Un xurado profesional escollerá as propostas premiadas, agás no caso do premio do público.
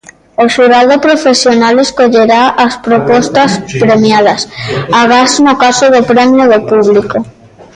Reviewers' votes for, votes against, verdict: 1, 2, rejected